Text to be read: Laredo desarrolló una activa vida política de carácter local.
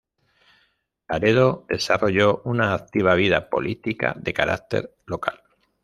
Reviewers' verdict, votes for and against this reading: rejected, 0, 2